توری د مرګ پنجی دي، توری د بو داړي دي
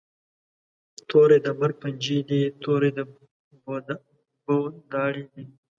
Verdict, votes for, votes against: rejected, 1, 2